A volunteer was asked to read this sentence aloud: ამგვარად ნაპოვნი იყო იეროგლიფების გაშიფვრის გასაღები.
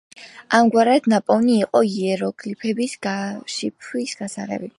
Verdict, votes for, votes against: accepted, 2, 0